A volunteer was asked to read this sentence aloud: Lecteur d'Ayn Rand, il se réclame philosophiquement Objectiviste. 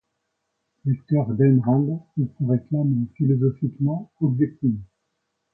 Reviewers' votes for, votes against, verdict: 1, 2, rejected